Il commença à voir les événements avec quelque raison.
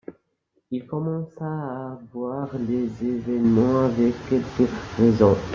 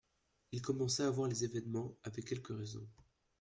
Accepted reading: second